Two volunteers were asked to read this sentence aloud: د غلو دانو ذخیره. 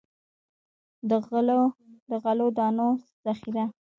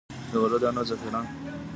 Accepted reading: second